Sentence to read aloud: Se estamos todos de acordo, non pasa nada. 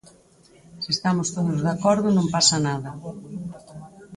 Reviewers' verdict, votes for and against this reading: rejected, 0, 4